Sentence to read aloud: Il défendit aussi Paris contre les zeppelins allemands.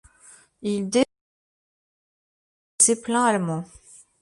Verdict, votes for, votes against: rejected, 0, 2